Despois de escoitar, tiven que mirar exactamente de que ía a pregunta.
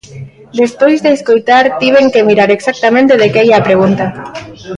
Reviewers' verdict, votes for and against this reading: rejected, 0, 2